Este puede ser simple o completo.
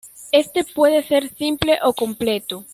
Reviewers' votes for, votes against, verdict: 2, 0, accepted